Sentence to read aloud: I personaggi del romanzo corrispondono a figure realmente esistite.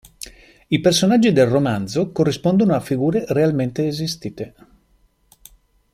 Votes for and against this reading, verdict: 2, 0, accepted